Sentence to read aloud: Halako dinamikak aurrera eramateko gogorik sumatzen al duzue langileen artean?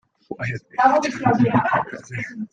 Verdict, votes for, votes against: rejected, 0, 2